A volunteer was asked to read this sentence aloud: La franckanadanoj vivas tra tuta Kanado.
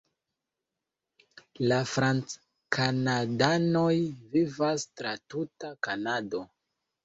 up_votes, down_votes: 2, 0